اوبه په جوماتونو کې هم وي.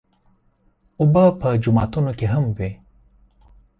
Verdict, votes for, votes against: accepted, 4, 0